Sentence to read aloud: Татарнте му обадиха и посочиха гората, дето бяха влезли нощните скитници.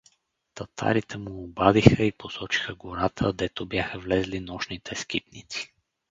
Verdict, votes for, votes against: rejected, 2, 4